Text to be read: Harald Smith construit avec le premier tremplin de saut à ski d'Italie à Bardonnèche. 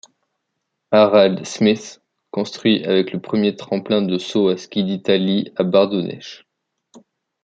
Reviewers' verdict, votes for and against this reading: rejected, 1, 2